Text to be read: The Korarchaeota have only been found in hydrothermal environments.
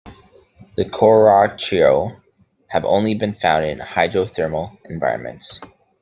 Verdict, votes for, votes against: rejected, 0, 2